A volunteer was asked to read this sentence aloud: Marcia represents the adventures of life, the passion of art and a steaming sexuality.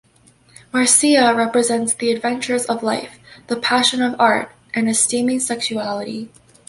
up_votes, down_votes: 2, 0